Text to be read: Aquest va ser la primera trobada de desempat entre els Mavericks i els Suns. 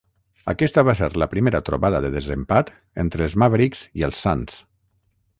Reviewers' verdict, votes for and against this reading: rejected, 3, 3